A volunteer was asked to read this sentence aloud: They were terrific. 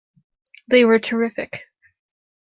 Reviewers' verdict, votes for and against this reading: accepted, 2, 0